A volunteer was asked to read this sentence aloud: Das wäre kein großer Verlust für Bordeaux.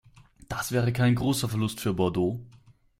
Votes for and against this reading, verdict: 2, 0, accepted